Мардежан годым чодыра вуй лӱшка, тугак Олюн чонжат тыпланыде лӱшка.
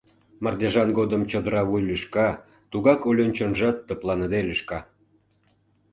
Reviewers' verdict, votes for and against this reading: accepted, 2, 0